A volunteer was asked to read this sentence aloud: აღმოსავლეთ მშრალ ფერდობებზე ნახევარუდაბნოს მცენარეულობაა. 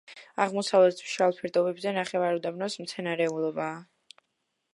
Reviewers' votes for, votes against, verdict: 2, 1, accepted